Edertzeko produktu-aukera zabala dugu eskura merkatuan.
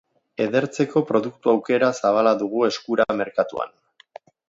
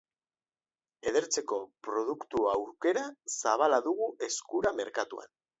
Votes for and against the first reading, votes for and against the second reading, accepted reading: 1, 5, 3, 0, second